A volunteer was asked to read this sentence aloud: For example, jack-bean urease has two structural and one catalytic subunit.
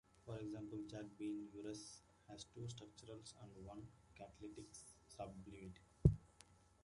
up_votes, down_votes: 1, 2